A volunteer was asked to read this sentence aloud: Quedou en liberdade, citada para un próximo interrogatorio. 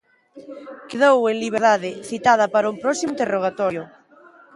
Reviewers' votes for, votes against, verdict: 1, 2, rejected